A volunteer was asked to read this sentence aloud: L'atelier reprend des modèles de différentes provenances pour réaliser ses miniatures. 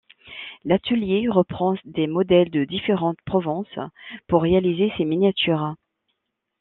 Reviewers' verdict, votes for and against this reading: rejected, 1, 2